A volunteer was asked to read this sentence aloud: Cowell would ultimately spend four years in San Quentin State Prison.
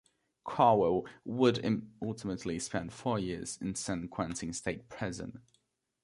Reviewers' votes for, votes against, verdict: 0, 2, rejected